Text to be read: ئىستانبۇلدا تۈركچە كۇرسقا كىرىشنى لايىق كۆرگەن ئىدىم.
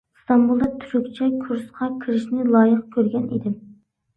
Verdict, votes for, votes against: accepted, 2, 1